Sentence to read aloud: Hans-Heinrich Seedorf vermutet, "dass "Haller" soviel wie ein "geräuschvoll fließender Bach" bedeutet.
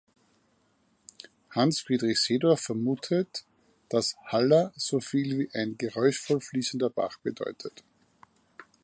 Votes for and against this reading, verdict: 0, 4, rejected